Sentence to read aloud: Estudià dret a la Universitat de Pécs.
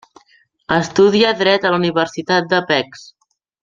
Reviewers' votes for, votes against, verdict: 1, 2, rejected